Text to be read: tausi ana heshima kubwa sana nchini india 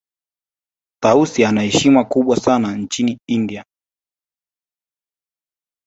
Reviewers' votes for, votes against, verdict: 4, 0, accepted